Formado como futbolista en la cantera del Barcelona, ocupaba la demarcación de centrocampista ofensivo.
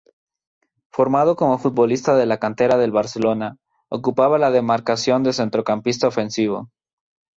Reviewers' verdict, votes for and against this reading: rejected, 0, 2